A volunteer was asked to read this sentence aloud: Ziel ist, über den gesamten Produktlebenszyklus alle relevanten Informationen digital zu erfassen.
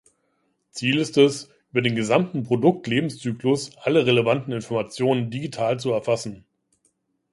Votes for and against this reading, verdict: 0, 2, rejected